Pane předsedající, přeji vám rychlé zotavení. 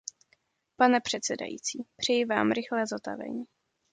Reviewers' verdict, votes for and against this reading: accepted, 2, 0